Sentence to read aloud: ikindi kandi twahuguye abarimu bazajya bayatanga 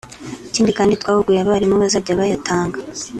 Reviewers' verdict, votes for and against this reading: accepted, 2, 0